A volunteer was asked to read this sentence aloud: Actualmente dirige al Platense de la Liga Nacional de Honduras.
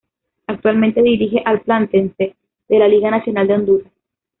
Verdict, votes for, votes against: rejected, 1, 2